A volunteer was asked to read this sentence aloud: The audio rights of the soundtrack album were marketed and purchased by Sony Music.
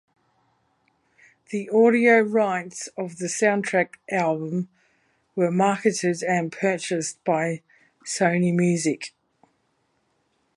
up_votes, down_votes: 2, 0